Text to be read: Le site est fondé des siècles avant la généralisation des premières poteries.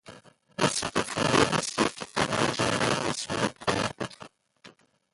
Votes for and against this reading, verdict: 0, 2, rejected